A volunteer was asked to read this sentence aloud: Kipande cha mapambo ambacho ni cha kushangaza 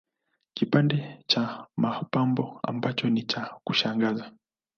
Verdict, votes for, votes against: accepted, 2, 0